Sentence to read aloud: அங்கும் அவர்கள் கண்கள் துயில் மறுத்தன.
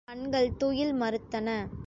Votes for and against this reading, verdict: 0, 2, rejected